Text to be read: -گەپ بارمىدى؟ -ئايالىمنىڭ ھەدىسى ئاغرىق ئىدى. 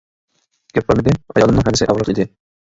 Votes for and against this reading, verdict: 1, 2, rejected